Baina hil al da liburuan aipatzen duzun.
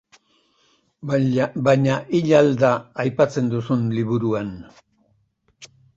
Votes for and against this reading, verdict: 0, 3, rejected